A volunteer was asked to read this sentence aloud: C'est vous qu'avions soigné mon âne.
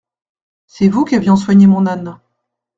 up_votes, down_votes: 2, 0